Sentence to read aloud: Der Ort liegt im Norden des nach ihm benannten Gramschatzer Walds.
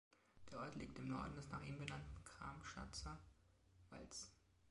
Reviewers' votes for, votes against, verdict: 2, 1, accepted